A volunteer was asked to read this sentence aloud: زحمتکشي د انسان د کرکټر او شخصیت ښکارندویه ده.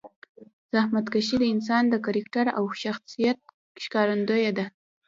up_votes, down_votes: 0, 2